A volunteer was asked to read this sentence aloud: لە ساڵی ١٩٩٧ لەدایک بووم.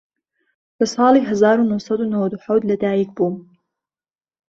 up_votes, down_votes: 0, 2